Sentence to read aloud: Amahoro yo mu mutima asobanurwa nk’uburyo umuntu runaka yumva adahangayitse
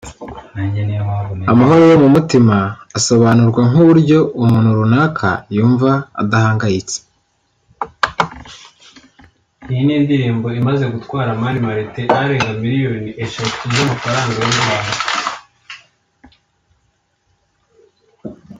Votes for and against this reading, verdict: 1, 2, rejected